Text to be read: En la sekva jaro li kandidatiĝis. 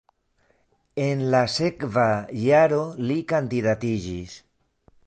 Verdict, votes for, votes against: rejected, 1, 2